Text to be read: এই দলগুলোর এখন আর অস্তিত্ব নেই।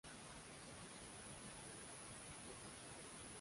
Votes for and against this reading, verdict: 0, 2, rejected